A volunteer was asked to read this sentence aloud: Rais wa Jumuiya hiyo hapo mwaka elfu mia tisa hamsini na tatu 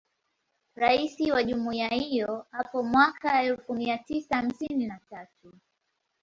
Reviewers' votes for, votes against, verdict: 2, 0, accepted